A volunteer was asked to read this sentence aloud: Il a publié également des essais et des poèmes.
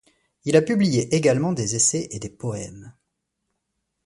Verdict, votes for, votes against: accepted, 2, 0